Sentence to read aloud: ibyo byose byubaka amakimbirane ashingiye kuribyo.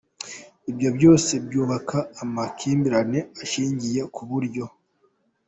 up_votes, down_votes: 1, 2